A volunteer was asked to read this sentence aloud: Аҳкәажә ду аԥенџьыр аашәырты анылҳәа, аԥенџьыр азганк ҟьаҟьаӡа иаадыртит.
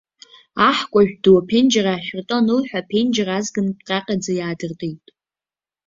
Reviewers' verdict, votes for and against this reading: accepted, 2, 0